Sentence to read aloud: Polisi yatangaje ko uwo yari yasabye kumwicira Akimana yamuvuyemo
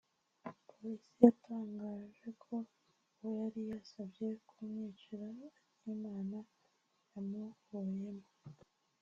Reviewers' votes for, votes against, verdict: 0, 2, rejected